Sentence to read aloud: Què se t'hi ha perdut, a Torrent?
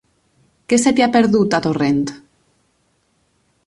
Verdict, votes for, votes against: accepted, 4, 0